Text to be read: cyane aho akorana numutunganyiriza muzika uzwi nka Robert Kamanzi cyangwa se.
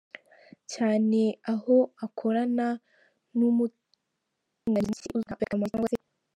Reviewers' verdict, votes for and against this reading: rejected, 0, 2